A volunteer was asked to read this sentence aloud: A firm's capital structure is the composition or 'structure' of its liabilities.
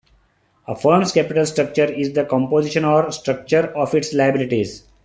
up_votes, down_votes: 2, 0